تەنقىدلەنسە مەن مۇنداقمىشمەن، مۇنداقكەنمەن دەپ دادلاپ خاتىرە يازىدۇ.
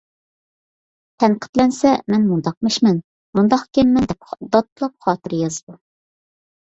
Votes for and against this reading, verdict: 1, 2, rejected